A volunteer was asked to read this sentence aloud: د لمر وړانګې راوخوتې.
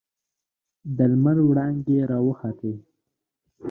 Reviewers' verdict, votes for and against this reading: accepted, 2, 0